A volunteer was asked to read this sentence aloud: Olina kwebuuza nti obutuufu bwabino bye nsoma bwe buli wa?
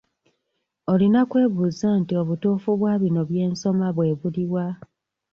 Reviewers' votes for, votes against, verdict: 0, 2, rejected